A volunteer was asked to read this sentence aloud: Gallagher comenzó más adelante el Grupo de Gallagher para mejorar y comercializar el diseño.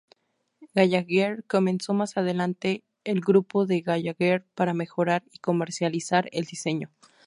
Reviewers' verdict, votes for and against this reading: accepted, 2, 0